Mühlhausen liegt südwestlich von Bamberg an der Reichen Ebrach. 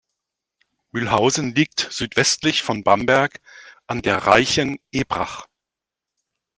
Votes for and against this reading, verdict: 2, 0, accepted